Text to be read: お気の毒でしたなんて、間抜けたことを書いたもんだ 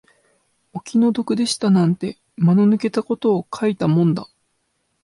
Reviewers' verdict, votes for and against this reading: rejected, 1, 2